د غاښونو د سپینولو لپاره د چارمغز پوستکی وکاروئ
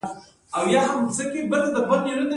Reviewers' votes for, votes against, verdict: 2, 0, accepted